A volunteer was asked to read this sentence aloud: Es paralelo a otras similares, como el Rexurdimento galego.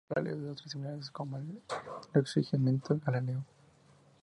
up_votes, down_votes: 2, 0